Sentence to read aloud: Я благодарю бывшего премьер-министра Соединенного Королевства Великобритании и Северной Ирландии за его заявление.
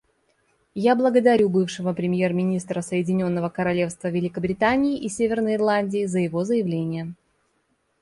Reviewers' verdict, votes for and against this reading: accepted, 2, 0